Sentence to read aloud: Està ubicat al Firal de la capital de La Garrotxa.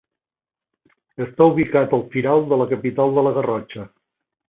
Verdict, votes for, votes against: accepted, 3, 0